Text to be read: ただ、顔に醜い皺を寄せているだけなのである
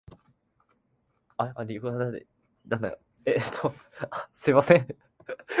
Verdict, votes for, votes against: rejected, 0, 2